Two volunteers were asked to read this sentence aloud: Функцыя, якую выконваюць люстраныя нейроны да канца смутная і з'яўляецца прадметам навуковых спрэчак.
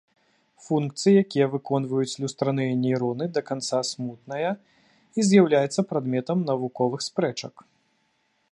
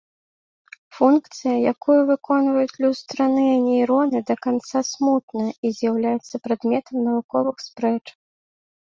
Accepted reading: second